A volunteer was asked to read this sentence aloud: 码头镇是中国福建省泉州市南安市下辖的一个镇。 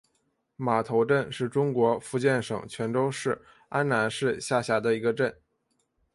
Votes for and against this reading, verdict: 2, 1, accepted